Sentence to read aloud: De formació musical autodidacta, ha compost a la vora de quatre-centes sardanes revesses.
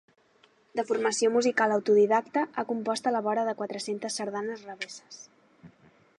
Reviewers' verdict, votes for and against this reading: accepted, 2, 0